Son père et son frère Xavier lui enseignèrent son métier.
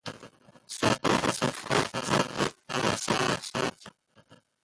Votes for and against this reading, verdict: 0, 2, rejected